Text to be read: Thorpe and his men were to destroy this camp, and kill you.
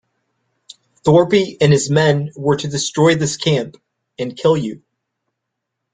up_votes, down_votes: 1, 2